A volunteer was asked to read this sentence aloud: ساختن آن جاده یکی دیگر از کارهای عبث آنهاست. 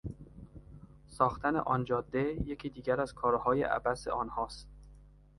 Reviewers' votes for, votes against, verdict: 2, 0, accepted